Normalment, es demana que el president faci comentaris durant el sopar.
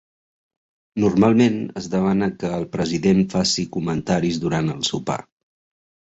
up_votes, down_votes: 2, 0